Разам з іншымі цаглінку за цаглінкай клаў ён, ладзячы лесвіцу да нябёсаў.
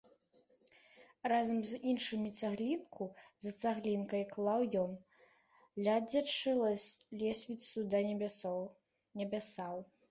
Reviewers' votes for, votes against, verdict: 0, 2, rejected